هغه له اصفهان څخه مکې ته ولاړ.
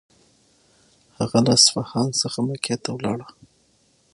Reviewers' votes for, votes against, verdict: 0, 6, rejected